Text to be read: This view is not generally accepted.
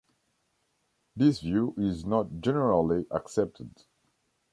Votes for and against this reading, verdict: 2, 1, accepted